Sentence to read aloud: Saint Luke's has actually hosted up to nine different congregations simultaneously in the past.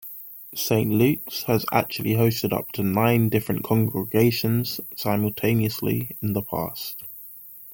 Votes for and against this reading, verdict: 2, 0, accepted